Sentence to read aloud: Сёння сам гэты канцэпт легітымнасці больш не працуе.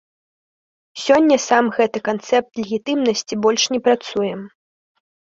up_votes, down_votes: 2, 0